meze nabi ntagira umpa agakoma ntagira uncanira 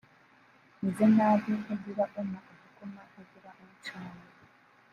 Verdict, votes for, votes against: rejected, 0, 2